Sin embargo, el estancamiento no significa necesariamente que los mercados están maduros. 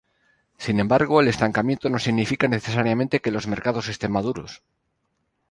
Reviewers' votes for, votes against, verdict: 0, 2, rejected